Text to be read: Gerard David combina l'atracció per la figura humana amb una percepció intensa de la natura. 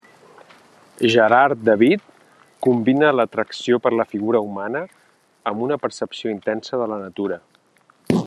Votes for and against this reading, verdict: 4, 1, accepted